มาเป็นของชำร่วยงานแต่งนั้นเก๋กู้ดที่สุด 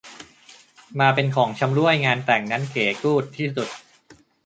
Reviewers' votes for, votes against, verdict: 2, 0, accepted